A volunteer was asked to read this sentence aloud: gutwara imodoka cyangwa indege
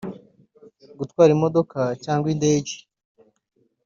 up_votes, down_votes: 0, 2